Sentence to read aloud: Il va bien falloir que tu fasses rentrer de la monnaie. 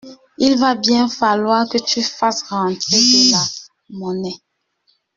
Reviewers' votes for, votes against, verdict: 0, 2, rejected